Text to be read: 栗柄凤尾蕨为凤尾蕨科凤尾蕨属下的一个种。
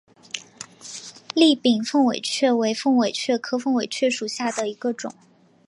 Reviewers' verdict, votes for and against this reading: rejected, 0, 2